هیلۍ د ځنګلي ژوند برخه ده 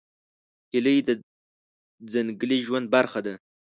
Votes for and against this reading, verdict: 1, 2, rejected